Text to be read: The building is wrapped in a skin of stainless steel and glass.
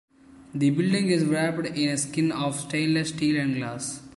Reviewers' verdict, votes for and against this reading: accepted, 2, 1